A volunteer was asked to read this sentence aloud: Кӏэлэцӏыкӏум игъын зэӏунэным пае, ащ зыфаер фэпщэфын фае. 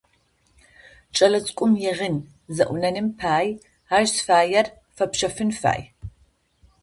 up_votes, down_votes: 0, 2